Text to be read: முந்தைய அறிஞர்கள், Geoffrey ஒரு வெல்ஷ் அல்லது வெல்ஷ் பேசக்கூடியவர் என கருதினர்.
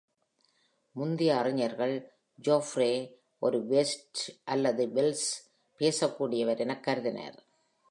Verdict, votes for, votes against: rejected, 1, 2